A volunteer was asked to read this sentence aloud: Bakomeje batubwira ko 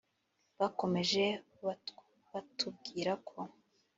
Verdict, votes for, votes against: rejected, 2, 3